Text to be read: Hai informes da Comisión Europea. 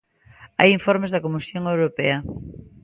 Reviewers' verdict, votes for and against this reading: accepted, 2, 0